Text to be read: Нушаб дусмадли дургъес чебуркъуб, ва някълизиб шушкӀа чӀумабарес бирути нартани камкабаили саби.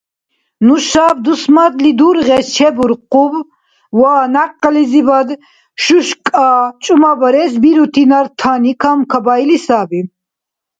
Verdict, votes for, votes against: rejected, 1, 2